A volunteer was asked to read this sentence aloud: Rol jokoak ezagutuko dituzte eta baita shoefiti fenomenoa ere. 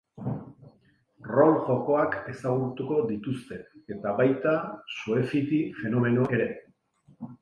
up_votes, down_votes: 2, 0